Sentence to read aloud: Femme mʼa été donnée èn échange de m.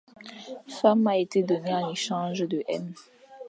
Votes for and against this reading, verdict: 0, 2, rejected